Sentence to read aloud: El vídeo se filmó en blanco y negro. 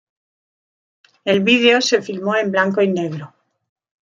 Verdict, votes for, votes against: accepted, 2, 0